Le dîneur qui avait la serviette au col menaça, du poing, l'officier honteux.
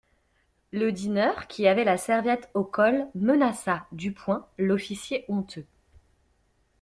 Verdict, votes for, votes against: accepted, 2, 0